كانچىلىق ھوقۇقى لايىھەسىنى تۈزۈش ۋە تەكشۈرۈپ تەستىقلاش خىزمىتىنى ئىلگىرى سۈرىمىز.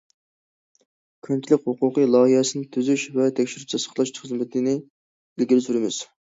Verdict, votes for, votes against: rejected, 1, 2